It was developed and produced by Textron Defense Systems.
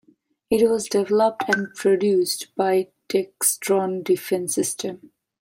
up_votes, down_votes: 1, 2